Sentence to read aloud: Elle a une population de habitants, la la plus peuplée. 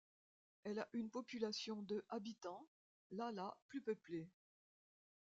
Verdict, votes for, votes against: accepted, 2, 0